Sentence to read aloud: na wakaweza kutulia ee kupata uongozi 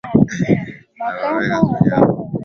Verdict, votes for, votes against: rejected, 0, 2